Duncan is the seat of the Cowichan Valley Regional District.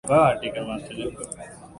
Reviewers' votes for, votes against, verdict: 0, 2, rejected